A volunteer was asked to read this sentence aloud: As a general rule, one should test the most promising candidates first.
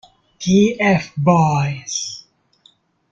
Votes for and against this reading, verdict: 0, 2, rejected